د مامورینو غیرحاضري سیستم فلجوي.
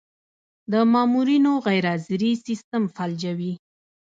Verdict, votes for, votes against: rejected, 1, 2